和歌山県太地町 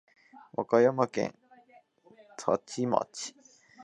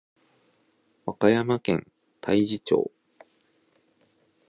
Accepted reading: second